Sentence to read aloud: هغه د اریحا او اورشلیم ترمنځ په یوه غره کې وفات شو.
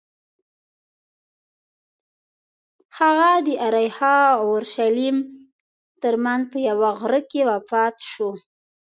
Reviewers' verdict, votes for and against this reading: accepted, 2, 0